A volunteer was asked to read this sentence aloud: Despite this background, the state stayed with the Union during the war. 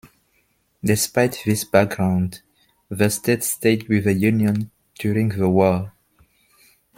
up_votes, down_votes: 1, 2